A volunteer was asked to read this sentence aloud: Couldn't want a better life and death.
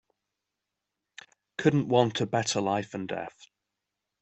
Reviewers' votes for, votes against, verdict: 4, 0, accepted